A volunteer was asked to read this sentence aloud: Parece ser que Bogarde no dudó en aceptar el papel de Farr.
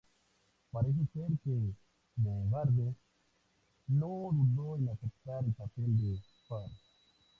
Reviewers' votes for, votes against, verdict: 0, 2, rejected